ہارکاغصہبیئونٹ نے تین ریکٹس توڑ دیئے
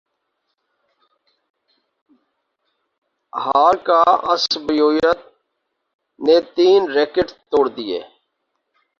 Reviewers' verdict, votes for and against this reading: rejected, 0, 2